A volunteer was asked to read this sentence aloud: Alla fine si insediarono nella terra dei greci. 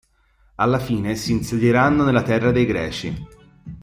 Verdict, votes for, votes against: rejected, 0, 2